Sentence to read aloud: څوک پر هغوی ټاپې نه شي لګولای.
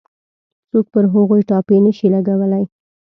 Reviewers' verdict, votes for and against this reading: accepted, 2, 0